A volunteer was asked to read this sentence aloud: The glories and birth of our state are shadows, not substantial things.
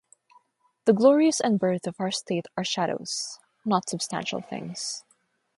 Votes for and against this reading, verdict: 3, 0, accepted